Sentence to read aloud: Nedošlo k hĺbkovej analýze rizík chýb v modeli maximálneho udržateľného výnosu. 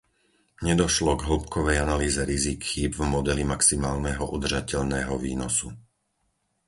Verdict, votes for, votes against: accepted, 4, 0